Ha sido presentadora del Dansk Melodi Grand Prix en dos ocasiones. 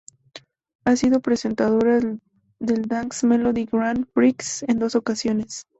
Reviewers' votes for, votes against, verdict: 0, 2, rejected